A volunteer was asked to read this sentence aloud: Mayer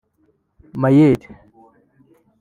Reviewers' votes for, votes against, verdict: 0, 2, rejected